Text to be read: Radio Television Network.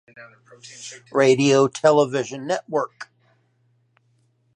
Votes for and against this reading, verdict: 4, 0, accepted